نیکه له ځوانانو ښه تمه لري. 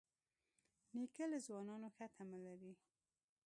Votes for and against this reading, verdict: 1, 2, rejected